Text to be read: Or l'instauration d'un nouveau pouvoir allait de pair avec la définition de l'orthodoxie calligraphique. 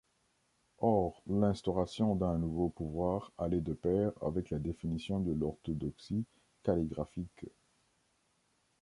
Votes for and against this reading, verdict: 2, 0, accepted